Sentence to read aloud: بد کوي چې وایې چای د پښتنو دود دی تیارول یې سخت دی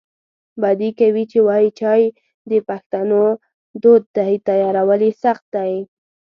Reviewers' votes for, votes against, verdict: 0, 2, rejected